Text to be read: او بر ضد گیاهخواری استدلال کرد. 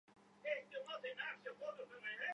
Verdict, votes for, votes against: rejected, 0, 2